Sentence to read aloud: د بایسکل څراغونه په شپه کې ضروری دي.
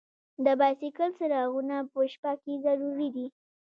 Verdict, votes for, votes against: rejected, 1, 2